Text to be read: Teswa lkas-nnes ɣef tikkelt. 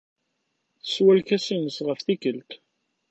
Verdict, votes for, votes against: accepted, 2, 0